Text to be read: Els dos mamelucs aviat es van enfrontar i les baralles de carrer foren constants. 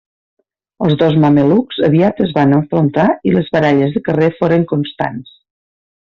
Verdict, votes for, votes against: accepted, 2, 0